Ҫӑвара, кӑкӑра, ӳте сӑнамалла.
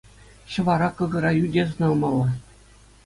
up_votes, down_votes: 2, 0